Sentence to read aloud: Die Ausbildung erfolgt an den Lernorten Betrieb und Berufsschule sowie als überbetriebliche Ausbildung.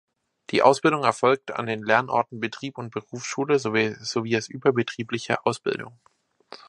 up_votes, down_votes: 0, 2